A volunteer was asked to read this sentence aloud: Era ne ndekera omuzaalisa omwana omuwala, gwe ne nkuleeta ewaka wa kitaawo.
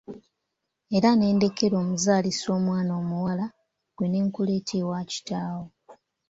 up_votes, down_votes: 2, 0